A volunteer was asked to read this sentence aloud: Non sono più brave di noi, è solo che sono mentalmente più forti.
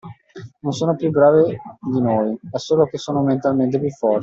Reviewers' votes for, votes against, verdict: 1, 2, rejected